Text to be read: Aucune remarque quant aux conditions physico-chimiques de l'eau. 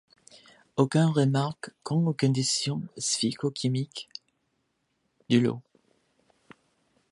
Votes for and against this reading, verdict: 0, 2, rejected